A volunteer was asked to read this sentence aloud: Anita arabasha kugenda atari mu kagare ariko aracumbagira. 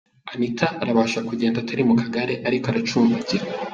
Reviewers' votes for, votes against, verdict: 2, 0, accepted